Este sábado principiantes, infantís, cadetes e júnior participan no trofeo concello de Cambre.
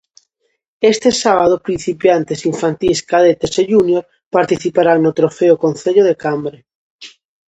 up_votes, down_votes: 0, 2